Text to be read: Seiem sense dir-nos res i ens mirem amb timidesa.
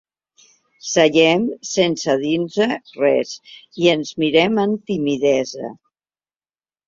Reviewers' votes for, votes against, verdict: 1, 2, rejected